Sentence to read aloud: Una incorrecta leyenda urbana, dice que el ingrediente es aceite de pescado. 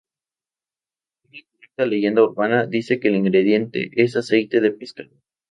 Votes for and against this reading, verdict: 0, 2, rejected